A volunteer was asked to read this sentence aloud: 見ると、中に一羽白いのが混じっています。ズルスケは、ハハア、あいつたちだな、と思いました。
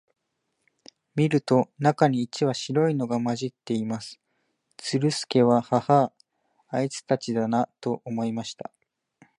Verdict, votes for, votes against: accepted, 2, 0